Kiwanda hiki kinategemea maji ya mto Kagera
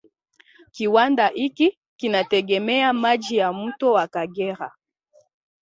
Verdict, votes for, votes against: rejected, 1, 2